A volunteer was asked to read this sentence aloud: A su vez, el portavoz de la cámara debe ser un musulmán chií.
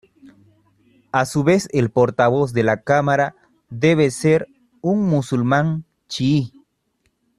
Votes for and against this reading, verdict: 2, 0, accepted